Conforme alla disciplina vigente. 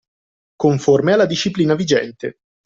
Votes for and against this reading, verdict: 2, 0, accepted